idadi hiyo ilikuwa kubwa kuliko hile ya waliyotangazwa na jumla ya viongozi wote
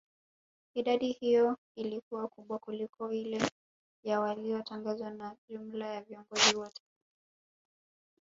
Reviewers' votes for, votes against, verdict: 1, 2, rejected